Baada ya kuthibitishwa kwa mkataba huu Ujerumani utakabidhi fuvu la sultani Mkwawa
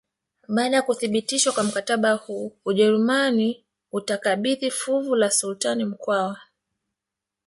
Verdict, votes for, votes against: accepted, 3, 1